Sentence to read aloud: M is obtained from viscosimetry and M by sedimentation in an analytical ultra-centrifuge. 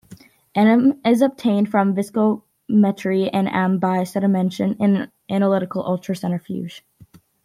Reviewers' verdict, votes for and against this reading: rejected, 1, 3